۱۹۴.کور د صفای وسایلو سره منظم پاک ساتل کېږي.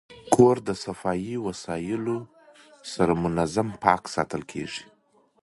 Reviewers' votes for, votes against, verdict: 0, 2, rejected